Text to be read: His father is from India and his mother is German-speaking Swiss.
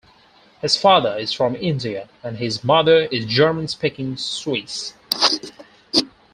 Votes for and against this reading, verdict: 4, 0, accepted